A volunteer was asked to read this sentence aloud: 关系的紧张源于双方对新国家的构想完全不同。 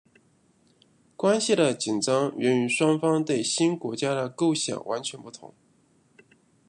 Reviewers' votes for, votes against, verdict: 0, 2, rejected